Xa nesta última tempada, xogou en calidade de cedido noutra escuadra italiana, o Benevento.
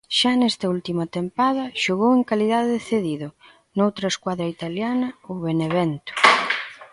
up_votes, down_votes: 3, 0